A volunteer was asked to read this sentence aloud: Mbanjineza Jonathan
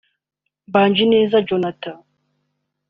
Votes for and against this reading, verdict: 1, 2, rejected